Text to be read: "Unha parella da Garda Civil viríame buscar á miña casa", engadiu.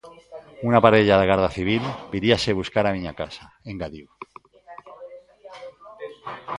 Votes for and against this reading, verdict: 0, 2, rejected